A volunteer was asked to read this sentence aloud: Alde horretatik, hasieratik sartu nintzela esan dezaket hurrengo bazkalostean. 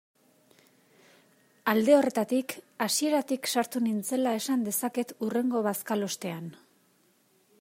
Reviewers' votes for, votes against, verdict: 2, 0, accepted